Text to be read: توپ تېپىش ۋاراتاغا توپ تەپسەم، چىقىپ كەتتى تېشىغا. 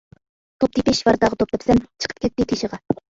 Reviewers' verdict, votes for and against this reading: rejected, 1, 2